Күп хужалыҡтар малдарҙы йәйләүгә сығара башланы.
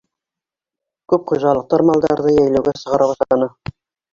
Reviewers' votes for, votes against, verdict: 0, 2, rejected